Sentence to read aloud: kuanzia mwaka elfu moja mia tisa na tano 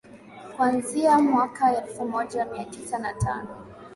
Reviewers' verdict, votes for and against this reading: accepted, 9, 0